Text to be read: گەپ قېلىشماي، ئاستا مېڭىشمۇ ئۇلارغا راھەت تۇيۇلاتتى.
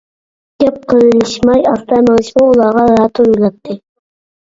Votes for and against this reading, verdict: 0, 2, rejected